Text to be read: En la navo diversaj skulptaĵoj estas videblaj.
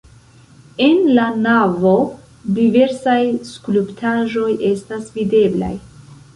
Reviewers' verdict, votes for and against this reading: accepted, 2, 0